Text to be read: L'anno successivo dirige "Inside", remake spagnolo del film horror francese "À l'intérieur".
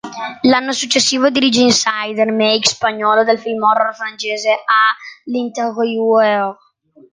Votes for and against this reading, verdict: 2, 0, accepted